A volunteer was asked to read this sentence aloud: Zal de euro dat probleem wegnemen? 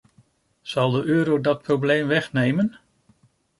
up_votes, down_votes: 2, 0